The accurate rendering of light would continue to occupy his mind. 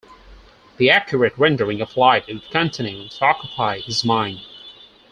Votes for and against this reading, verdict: 2, 4, rejected